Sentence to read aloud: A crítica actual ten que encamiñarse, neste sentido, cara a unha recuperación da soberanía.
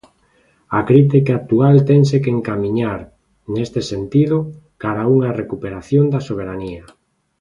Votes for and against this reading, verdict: 0, 2, rejected